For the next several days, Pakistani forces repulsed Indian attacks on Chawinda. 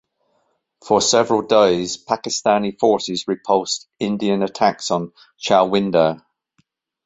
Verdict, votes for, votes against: rejected, 0, 2